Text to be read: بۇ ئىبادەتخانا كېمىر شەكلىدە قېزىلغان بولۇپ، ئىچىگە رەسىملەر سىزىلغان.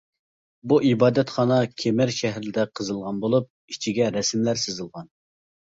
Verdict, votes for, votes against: rejected, 0, 2